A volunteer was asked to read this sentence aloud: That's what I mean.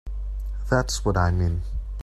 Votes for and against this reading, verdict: 2, 0, accepted